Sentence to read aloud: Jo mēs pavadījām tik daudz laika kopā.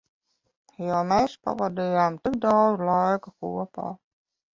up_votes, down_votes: 2, 0